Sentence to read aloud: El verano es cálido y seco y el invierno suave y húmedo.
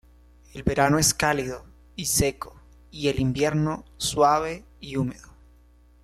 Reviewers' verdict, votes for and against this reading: accepted, 2, 1